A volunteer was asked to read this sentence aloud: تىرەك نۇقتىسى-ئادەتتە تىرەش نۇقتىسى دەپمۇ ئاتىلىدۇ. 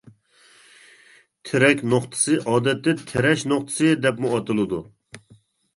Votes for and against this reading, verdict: 2, 0, accepted